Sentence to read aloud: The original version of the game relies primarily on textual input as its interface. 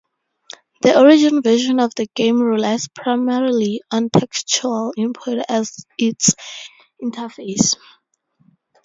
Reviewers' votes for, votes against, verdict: 0, 4, rejected